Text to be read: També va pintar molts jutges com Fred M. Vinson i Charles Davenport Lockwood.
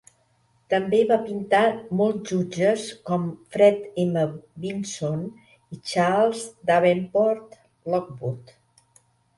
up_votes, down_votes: 1, 2